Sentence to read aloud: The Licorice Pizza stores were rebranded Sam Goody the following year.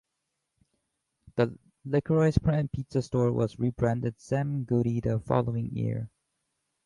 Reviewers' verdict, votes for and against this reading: rejected, 0, 2